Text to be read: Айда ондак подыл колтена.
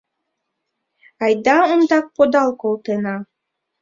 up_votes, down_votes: 0, 2